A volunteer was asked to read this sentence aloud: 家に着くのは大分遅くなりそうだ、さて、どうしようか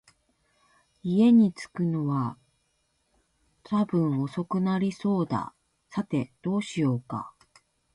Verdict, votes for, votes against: rejected, 0, 2